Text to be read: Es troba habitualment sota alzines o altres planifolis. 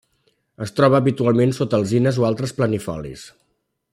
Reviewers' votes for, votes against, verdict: 3, 0, accepted